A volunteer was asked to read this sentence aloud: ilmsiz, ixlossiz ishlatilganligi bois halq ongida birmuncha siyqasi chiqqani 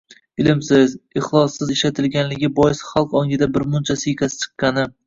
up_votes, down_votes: 1, 2